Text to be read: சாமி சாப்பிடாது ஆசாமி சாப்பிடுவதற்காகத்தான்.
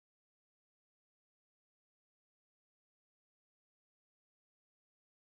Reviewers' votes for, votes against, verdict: 0, 3, rejected